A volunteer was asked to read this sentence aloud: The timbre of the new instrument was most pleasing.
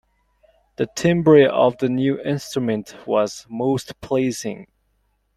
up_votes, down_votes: 2, 1